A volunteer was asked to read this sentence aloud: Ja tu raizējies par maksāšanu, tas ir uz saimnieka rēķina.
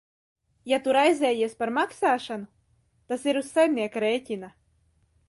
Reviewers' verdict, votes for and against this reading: accepted, 2, 0